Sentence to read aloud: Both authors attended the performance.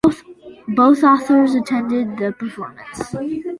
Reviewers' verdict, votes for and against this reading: rejected, 1, 2